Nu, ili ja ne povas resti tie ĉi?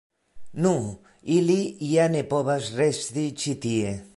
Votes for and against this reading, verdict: 0, 2, rejected